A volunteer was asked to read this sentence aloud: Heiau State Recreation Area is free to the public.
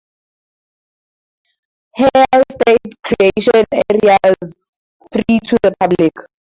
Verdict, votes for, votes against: accepted, 4, 0